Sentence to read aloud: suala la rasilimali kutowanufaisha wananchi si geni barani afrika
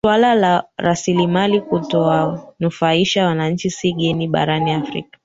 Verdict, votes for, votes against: rejected, 1, 2